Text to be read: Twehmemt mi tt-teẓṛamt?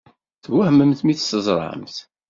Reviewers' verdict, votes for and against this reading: accepted, 2, 0